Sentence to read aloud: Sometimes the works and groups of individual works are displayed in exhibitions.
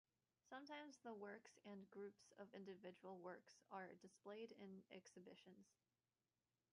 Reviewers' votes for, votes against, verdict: 0, 2, rejected